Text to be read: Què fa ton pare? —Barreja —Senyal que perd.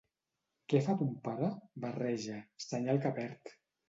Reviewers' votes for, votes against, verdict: 2, 0, accepted